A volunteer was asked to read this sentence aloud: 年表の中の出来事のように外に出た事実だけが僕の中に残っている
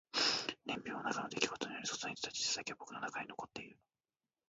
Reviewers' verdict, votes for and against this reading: rejected, 0, 2